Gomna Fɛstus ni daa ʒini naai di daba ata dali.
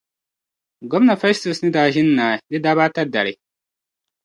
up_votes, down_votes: 1, 2